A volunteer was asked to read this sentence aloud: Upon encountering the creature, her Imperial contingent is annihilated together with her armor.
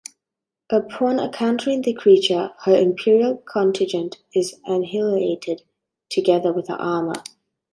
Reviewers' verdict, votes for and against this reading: rejected, 0, 2